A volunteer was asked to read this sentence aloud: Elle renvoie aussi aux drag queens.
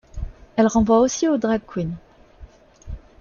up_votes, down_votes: 3, 0